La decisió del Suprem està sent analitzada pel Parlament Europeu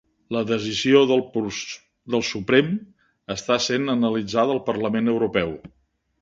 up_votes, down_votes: 1, 3